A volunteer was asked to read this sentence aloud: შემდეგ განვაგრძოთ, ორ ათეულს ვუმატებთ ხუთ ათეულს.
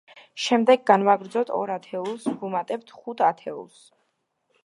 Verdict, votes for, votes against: accepted, 2, 0